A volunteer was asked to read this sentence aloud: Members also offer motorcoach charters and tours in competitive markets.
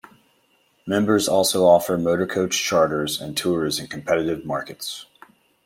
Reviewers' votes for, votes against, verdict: 2, 0, accepted